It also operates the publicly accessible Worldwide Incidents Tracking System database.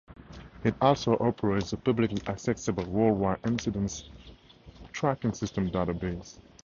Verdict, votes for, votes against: accepted, 4, 0